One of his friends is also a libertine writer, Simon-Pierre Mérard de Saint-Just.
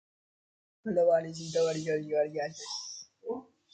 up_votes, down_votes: 0, 2